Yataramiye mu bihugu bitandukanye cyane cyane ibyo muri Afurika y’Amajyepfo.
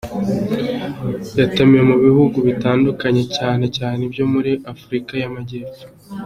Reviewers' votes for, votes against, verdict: 1, 2, rejected